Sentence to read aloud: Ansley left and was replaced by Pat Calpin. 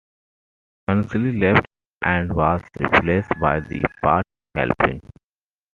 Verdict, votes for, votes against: accepted, 2, 0